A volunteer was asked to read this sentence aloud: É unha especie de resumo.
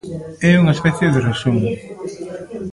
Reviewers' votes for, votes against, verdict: 1, 2, rejected